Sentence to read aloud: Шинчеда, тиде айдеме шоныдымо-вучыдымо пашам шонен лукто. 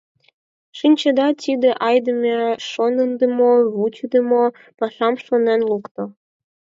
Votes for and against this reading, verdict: 2, 4, rejected